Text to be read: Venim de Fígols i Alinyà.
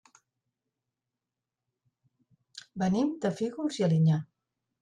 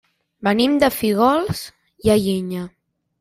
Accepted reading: first